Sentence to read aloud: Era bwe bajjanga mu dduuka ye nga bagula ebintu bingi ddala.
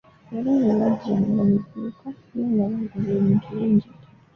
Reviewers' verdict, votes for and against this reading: rejected, 0, 2